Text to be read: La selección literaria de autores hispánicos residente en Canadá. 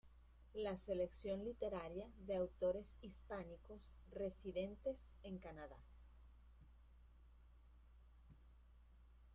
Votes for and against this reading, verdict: 0, 2, rejected